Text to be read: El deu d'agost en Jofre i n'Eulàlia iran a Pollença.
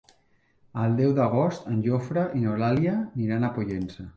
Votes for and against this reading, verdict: 2, 0, accepted